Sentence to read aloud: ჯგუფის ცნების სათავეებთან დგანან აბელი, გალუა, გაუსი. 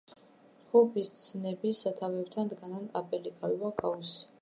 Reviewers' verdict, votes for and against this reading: rejected, 1, 2